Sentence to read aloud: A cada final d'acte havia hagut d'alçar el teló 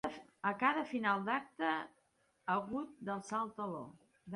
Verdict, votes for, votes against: rejected, 0, 2